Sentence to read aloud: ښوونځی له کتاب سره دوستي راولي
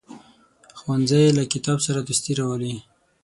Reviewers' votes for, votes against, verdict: 6, 0, accepted